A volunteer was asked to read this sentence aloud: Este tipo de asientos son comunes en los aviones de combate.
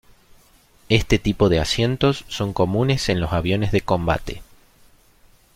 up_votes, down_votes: 2, 0